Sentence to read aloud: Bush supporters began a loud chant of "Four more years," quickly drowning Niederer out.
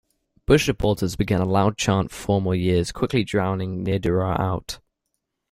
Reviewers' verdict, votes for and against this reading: rejected, 0, 2